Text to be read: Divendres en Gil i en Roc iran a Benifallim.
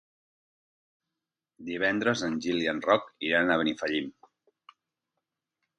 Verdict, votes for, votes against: accepted, 4, 0